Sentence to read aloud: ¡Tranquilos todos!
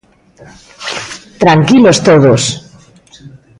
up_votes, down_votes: 2, 0